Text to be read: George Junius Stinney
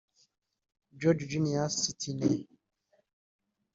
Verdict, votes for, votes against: accepted, 2, 0